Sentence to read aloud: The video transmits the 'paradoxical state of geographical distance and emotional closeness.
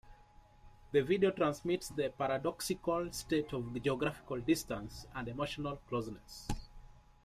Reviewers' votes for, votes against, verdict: 2, 1, accepted